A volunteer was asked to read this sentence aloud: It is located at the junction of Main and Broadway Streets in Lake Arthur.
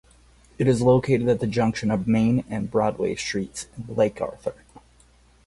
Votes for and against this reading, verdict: 2, 0, accepted